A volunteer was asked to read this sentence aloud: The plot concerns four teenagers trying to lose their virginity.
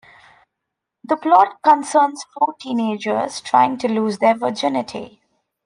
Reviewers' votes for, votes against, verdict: 2, 0, accepted